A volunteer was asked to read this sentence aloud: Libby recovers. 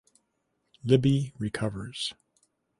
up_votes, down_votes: 6, 0